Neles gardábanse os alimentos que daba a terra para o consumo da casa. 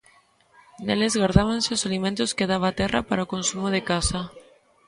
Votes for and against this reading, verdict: 0, 2, rejected